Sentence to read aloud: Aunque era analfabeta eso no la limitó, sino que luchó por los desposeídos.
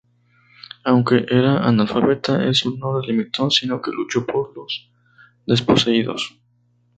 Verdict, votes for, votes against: accepted, 2, 0